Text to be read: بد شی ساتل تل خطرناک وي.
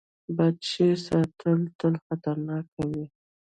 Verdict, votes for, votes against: accepted, 2, 0